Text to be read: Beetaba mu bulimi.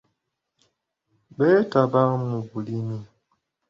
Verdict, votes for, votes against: accepted, 2, 0